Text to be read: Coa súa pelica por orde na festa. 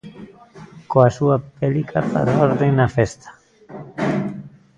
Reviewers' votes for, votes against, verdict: 1, 2, rejected